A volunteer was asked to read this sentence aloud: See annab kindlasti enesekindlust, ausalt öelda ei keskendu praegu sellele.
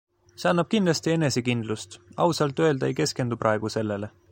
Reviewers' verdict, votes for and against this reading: accepted, 2, 0